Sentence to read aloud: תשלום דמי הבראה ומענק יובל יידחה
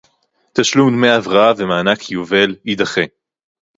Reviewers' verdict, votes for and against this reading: accepted, 2, 0